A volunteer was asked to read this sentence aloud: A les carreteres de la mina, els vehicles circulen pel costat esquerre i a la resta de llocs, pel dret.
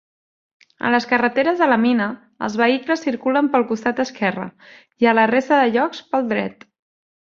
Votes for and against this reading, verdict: 3, 0, accepted